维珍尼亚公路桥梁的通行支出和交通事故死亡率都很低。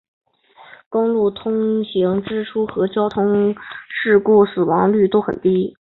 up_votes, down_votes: 3, 1